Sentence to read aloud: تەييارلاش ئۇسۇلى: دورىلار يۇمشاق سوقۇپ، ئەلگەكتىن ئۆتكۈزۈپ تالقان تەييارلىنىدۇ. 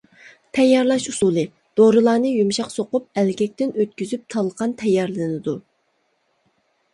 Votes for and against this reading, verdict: 0, 2, rejected